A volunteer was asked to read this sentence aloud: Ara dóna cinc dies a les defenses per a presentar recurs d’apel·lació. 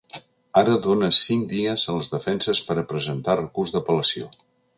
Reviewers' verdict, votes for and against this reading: accepted, 2, 0